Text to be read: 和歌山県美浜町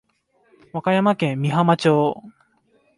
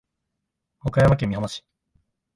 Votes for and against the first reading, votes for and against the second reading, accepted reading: 2, 1, 1, 2, first